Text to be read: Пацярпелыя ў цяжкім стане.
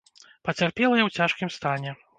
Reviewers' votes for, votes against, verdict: 2, 0, accepted